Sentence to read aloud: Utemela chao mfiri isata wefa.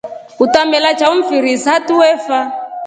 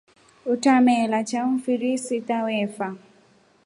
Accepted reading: first